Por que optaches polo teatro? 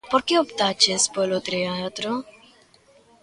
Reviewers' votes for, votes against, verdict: 2, 0, accepted